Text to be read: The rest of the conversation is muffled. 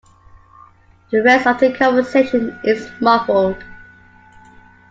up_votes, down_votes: 3, 2